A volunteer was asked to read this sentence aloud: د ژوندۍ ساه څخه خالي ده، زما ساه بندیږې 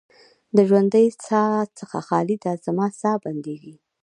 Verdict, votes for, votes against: rejected, 0, 2